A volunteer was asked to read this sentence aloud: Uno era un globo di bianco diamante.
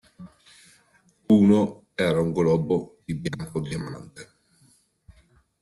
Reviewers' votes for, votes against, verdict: 1, 2, rejected